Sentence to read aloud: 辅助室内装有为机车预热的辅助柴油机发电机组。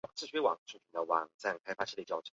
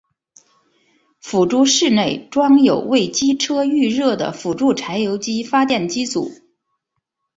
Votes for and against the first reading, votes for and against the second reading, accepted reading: 0, 3, 2, 0, second